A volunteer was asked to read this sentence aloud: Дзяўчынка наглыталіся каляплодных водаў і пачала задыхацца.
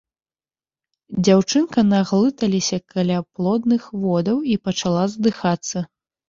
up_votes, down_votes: 2, 1